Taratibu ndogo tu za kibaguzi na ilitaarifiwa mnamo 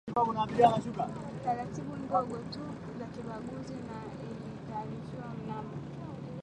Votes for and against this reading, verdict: 3, 5, rejected